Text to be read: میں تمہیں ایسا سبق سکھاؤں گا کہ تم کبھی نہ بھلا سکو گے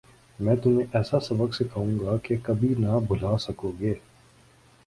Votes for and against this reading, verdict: 3, 1, accepted